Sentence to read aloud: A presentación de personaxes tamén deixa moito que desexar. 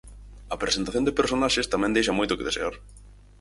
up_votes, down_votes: 0, 4